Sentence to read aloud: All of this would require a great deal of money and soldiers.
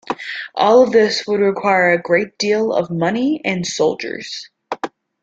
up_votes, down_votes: 2, 0